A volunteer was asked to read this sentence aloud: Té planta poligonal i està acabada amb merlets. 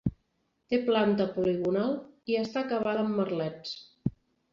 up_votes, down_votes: 2, 0